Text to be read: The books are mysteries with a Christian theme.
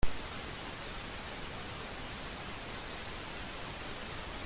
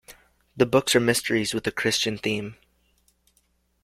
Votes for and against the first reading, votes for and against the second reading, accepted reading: 0, 2, 2, 0, second